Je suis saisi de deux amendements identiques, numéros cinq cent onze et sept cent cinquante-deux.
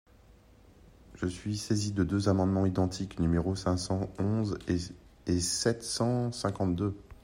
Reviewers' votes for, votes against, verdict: 0, 2, rejected